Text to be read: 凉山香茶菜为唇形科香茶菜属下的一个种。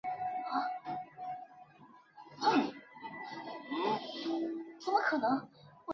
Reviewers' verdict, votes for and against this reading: rejected, 0, 2